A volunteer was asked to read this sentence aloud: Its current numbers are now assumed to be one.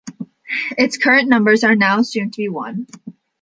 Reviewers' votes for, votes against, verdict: 2, 0, accepted